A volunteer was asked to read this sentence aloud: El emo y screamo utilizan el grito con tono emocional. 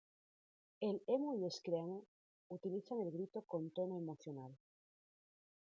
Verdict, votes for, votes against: accepted, 2, 1